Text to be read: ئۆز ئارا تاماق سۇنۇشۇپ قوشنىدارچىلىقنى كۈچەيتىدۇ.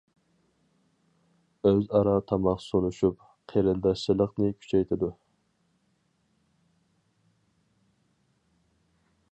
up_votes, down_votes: 2, 2